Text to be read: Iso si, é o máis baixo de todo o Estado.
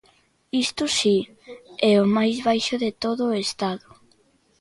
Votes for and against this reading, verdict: 1, 2, rejected